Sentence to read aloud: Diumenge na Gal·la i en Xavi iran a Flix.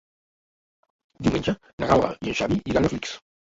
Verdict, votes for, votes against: rejected, 0, 2